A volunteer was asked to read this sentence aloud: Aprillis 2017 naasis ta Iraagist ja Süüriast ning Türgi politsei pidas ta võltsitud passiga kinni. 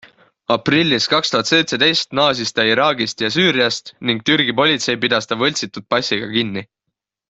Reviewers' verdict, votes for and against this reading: rejected, 0, 2